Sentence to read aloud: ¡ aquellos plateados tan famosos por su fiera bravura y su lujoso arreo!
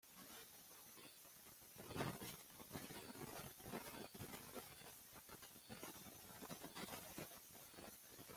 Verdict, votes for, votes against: rejected, 0, 2